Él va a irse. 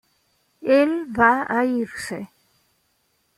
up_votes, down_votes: 2, 0